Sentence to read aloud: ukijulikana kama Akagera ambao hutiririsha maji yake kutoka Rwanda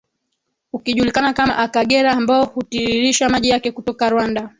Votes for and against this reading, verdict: 2, 0, accepted